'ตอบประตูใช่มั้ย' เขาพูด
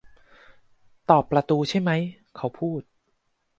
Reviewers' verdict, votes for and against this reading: accepted, 2, 0